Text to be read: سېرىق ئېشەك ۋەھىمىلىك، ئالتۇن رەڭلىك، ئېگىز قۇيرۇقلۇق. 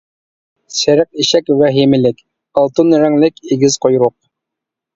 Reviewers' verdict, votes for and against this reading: rejected, 0, 2